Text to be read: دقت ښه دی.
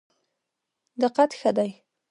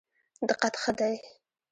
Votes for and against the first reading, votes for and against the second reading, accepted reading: 2, 0, 1, 2, first